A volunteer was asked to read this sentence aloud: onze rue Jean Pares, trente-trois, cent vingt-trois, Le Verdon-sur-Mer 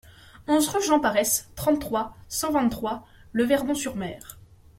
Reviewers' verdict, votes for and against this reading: accepted, 2, 0